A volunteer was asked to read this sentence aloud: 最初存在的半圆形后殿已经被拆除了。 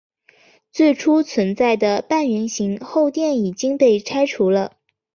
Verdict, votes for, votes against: accepted, 3, 0